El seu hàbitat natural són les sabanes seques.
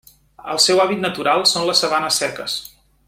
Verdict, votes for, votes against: rejected, 1, 2